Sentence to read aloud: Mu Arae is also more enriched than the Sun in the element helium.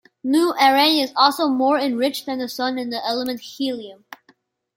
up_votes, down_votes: 2, 0